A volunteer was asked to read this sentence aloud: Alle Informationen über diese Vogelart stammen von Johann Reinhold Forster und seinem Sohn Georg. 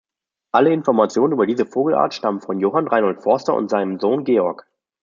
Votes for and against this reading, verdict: 2, 0, accepted